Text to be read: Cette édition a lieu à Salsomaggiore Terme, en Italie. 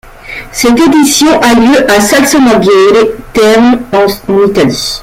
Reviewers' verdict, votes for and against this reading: accepted, 2, 0